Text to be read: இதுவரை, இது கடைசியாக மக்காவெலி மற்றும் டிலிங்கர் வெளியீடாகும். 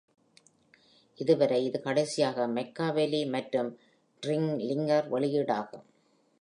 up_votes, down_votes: 0, 2